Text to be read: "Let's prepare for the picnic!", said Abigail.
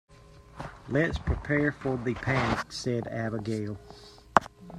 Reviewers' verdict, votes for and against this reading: rejected, 0, 2